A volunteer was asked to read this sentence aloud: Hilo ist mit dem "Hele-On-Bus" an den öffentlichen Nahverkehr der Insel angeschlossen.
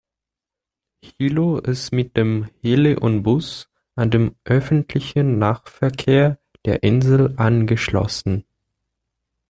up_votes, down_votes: 2, 1